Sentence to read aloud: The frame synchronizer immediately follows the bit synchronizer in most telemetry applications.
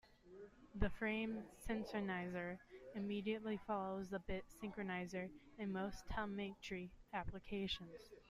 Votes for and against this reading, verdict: 1, 2, rejected